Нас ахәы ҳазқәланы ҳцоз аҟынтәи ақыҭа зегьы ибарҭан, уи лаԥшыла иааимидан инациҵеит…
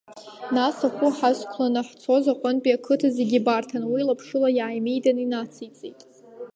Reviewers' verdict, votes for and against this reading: rejected, 1, 2